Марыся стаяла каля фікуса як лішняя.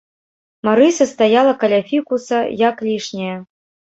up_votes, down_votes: 2, 0